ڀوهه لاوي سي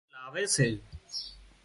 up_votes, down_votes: 0, 2